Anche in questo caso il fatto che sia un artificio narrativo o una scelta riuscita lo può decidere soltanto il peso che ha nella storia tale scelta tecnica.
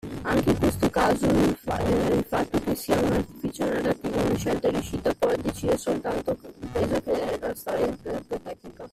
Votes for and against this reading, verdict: 0, 2, rejected